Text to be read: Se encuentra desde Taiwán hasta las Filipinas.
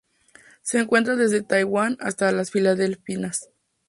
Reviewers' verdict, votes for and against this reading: rejected, 0, 2